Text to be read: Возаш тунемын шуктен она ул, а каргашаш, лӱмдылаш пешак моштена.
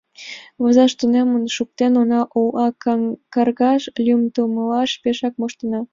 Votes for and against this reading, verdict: 3, 2, accepted